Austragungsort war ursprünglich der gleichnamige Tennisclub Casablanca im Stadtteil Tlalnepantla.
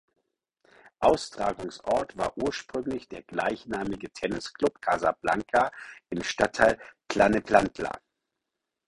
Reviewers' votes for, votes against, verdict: 4, 0, accepted